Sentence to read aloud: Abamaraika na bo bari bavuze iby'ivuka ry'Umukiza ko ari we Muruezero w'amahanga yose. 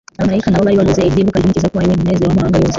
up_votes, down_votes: 1, 2